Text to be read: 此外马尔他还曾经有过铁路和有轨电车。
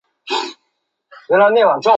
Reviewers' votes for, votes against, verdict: 0, 3, rejected